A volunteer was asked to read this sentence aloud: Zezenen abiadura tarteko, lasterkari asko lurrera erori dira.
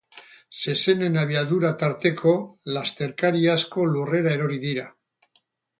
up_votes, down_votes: 2, 4